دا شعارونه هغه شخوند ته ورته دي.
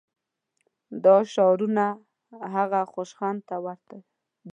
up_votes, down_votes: 1, 2